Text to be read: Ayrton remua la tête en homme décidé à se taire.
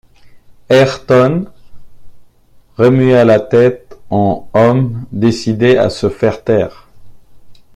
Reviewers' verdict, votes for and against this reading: rejected, 0, 2